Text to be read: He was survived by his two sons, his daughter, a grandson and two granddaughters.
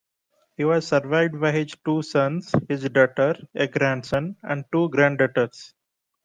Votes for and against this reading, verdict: 2, 0, accepted